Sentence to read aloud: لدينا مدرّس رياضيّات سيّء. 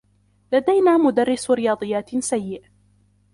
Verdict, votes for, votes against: accepted, 2, 1